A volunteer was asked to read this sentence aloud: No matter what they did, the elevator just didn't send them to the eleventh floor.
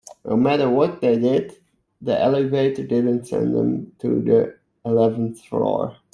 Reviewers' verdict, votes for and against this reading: rejected, 1, 2